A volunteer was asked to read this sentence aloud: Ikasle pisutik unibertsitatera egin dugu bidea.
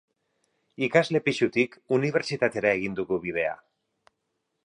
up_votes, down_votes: 4, 0